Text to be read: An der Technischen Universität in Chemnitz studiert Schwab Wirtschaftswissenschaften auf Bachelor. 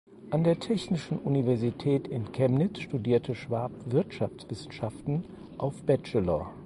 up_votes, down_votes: 2, 4